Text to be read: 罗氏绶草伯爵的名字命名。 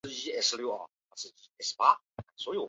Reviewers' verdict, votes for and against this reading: rejected, 2, 7